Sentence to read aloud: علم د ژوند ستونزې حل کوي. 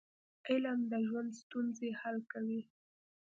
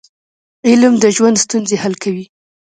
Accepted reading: first